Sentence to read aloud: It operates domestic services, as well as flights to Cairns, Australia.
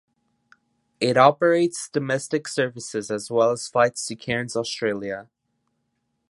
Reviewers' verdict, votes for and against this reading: accepted, 2, 0